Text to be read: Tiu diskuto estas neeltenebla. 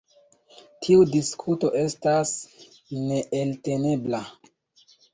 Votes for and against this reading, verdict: 1, 2, rejected